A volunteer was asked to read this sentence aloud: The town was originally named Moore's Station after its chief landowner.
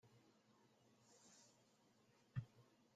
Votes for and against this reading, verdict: 0, 2, rejected